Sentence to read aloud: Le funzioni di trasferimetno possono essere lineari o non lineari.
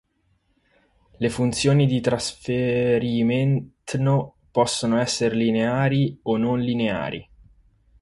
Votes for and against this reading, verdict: 0, 4, rejected